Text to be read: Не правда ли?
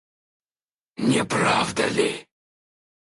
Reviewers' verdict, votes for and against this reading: rejected, 0, 4